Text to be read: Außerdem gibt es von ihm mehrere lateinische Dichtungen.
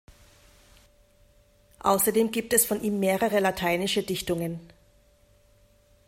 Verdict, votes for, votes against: accepted, 2, 0